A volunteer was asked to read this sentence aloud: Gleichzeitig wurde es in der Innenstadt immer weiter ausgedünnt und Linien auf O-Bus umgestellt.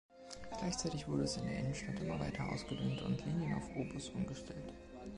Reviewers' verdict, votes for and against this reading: accepted, 2, 1